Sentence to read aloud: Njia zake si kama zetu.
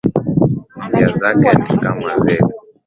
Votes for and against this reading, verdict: 1, 2, rejected